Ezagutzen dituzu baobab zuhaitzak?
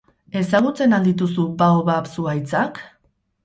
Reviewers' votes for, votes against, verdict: 0, 2, rejected